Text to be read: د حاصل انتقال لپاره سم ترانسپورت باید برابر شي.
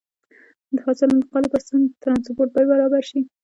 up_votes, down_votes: 1, 2